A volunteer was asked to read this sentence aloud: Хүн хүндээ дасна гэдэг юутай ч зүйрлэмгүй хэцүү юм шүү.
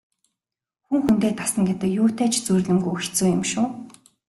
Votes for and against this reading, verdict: 2, 0, accepted